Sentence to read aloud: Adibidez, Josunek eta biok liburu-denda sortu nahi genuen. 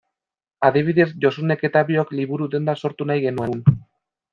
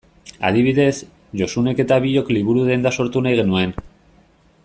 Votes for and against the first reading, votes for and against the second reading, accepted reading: 0, 2, 2, 0, second